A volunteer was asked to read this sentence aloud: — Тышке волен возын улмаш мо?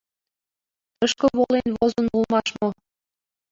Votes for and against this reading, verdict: 2, 0, accepted